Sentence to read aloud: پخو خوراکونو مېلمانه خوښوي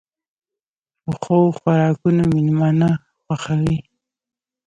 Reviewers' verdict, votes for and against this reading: rejected, 1, 2